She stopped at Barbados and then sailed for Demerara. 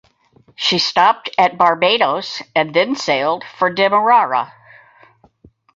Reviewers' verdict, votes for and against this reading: accepted, 4, 0